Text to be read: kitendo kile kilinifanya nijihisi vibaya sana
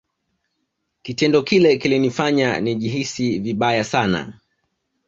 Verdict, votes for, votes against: accepted, 2, 1